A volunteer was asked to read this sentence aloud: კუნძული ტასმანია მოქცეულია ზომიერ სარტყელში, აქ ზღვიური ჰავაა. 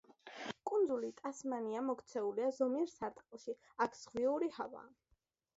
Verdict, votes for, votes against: accepted, 2, 0